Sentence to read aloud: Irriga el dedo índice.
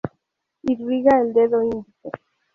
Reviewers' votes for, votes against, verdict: 0, 2, rejected